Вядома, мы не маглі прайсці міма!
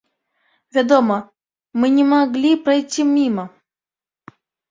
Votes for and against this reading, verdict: 1, 2, rejected